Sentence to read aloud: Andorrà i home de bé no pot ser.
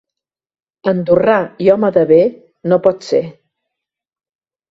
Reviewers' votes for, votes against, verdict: 1, 2, rejected